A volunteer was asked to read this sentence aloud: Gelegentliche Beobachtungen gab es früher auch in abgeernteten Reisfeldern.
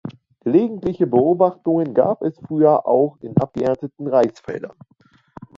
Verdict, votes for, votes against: rejected, 1, 2